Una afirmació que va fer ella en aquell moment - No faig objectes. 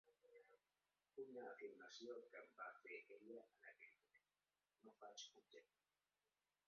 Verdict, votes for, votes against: rejected, 0, 2